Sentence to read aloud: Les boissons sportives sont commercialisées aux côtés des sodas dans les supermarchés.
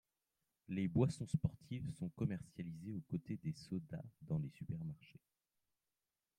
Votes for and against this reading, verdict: 2, 1, accepted